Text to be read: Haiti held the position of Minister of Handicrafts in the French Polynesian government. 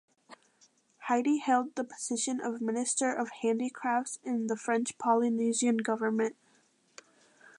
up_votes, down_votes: 2, 1